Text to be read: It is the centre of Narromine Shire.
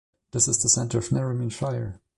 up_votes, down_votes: 2, 1